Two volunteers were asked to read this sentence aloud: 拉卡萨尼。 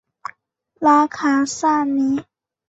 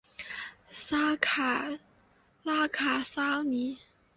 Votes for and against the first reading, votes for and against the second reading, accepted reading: 2, 0, 1, 4, first